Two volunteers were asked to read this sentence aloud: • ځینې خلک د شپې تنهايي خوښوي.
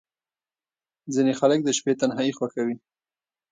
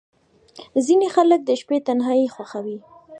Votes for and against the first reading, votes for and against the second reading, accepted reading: 2, 0, 1, 2, first